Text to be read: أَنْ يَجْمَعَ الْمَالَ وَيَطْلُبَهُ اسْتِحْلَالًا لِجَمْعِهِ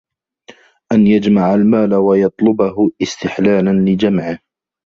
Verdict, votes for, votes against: rejected, 0, 2